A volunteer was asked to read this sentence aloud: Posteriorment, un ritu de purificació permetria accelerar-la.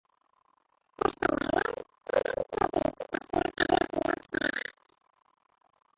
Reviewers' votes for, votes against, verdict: 0, 2, rejected